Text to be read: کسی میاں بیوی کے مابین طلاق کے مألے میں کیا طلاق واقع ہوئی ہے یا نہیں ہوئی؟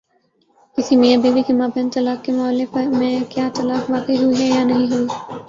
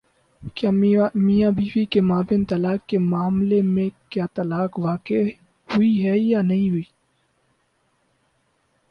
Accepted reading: second